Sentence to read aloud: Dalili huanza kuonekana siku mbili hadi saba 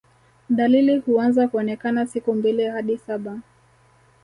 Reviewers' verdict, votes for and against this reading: accepted, 4, 0